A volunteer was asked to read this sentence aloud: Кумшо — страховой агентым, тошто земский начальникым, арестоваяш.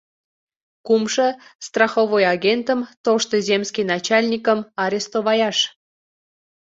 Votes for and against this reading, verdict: 2, 0, accepted